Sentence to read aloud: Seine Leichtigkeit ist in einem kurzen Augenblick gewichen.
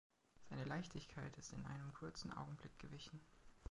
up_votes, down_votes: 3, 1